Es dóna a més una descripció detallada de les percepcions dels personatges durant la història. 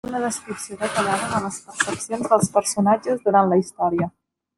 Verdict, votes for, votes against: rejected, 0, 2